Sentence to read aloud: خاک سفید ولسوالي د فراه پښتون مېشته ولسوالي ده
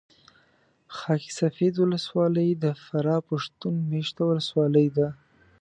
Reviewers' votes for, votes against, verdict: 1, 2, rejected